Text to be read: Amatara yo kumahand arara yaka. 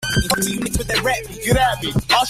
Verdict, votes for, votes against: rejected, 0, 2